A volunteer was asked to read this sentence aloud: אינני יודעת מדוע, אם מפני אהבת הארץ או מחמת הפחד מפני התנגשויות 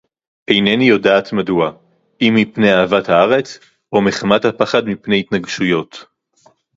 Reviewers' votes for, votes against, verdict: 2, 2, rejected